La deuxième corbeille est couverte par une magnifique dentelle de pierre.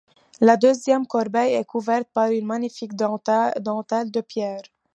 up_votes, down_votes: 0, 2